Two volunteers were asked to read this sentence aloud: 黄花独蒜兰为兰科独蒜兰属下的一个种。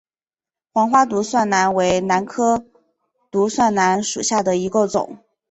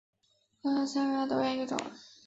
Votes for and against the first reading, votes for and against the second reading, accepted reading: 2, 1, 1, 2, first